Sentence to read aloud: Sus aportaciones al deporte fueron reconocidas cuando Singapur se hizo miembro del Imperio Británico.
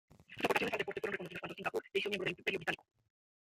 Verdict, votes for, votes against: rejected, 1, 2